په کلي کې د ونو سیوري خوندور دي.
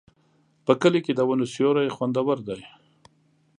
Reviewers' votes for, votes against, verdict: 2, 0, accepted